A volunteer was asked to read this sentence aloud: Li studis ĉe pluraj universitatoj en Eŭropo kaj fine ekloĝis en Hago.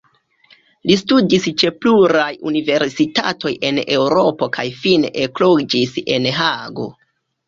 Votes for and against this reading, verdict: 2, 0, accepted